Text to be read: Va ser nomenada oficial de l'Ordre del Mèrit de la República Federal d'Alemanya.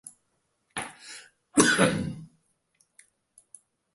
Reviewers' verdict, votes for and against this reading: rejected, 0, 2